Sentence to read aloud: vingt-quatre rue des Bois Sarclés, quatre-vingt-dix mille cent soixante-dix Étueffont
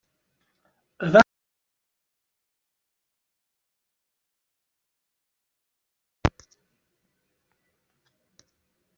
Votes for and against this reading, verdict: 0, 2, rejected